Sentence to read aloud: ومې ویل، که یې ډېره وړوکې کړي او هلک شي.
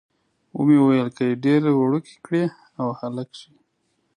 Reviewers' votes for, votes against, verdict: 2, 0, accepted